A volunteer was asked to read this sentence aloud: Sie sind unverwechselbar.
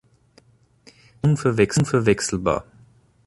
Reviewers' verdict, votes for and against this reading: rejected, 0, 2